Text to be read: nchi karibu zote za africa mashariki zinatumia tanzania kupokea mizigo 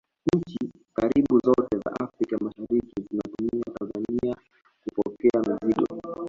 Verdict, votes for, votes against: accepted, 2, 0